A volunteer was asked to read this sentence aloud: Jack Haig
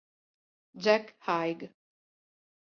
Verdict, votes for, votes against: accepted, 2, 0